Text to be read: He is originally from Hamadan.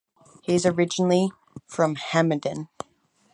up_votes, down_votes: 4, 0